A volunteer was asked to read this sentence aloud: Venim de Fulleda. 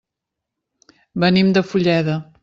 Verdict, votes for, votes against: accepted, 3, 0